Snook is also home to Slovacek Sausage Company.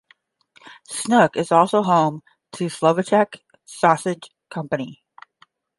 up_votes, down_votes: 5, 0